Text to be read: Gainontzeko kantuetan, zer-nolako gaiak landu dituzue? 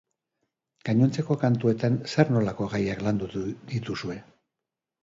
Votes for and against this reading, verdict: 0, 2, rejected